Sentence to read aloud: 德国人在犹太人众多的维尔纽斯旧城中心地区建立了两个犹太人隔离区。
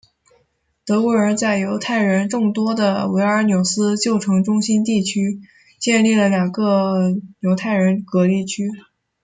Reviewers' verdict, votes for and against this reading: accepted, 2, 0